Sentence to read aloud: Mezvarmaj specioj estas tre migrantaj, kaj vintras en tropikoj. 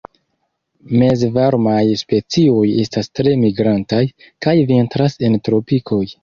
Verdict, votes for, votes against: accepted, 2, 0